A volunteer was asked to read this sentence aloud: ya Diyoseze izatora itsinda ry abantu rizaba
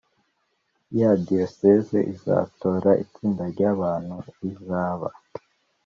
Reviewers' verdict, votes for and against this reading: accepted, 2, 0